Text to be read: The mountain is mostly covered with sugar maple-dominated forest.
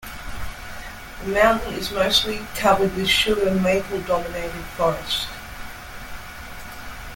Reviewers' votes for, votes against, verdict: 2, 0, accepted